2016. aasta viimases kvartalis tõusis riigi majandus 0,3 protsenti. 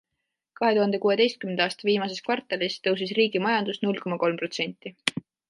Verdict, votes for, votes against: rejected, 0, 2